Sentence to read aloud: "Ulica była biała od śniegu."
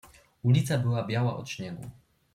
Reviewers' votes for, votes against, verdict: 2, 0, accepted